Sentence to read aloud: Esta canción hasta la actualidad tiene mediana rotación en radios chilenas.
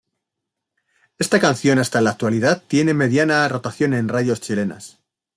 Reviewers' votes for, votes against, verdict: 2, 0, accepted